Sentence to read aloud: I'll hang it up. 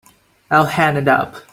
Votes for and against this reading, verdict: 0, 3, rejected